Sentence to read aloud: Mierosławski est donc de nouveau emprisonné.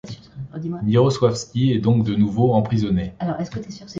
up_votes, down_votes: 1, 2